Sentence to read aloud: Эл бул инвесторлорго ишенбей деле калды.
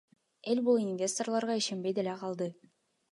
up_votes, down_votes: 2, 0